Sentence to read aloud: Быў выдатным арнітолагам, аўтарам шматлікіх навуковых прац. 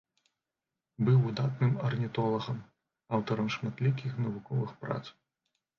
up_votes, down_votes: 1, 2